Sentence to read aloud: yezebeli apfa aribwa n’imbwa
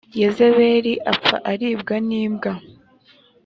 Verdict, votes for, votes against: accepted, 2, 0